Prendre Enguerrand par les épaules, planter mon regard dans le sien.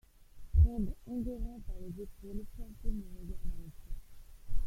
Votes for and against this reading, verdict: 0, 2, rejected